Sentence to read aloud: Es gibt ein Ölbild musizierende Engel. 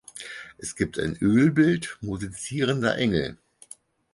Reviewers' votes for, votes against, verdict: 0, 4, rejected